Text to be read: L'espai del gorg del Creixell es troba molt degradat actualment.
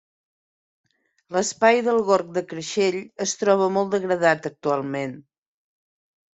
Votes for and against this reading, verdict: 2, 0, accepted